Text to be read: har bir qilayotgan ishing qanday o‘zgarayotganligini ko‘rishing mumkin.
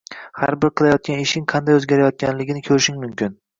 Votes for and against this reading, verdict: 0, 2, rejected